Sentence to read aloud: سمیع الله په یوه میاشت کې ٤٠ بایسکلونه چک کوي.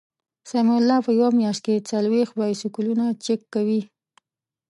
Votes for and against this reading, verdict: 0, 2, rejected